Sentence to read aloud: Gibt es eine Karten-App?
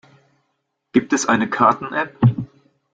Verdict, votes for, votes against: accepted, 2, 0